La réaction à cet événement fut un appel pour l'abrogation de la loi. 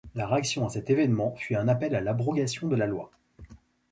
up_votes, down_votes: 1, 2